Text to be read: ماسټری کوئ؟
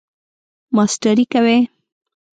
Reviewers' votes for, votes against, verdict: 2, 0, accepted